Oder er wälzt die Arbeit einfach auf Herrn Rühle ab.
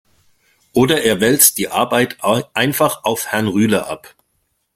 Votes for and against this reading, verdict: 1, 2, rejected